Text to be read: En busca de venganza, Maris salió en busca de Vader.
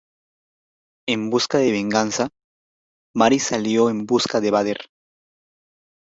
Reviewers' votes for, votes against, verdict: 3, 1, accepted